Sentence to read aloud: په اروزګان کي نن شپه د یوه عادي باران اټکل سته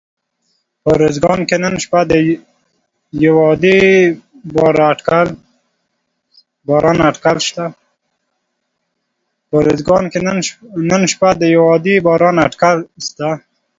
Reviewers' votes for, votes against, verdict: 0, 2, rejected